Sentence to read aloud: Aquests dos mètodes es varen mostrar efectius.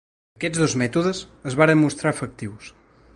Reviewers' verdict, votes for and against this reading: accepted, 3, 0